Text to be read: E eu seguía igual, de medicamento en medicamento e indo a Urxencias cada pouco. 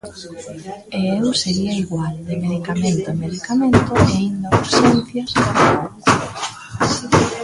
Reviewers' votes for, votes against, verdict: 0, 2, rejected